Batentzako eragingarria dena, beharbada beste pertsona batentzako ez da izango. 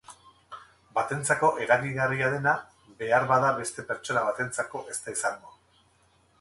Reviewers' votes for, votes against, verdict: 2, 2, rejected